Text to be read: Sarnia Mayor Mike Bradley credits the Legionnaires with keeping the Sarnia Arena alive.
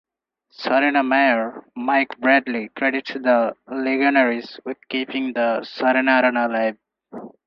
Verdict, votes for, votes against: accepted, 4, 0